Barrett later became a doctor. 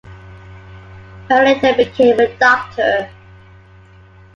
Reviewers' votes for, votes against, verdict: 2, 1, accepted